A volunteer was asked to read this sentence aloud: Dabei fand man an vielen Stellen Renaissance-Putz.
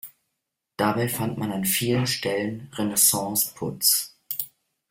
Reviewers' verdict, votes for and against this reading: accepted, 2, 0